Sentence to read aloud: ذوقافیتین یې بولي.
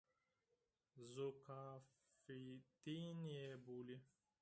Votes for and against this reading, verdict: 2, 4, rejected